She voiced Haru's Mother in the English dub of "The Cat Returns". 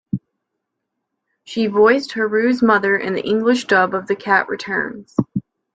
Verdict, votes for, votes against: accepted, 2, 1